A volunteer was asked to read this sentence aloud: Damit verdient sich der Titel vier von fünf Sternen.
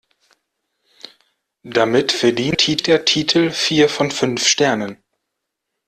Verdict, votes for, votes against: rejected, 0, 2